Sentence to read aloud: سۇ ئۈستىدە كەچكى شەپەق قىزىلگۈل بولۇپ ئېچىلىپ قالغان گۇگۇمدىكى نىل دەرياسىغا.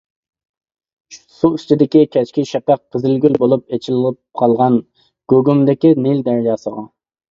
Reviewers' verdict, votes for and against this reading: rejected, 0, 2